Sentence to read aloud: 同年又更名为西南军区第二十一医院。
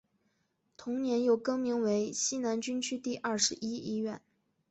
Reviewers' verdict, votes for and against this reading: accepted, 2, 0